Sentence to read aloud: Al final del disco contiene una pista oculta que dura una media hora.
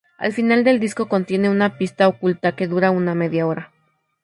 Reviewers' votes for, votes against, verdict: 4, 0, accepted